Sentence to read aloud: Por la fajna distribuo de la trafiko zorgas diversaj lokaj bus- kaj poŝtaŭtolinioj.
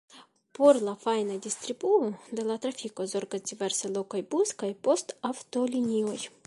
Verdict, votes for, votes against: rejected, 1, 2